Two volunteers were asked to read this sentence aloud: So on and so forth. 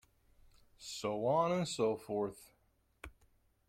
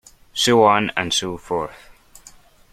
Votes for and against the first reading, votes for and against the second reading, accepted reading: 1, 2, 2, 0, second